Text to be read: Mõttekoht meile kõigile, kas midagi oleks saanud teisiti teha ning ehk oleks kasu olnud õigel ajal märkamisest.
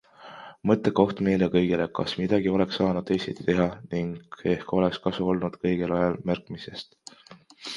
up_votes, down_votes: 2, 1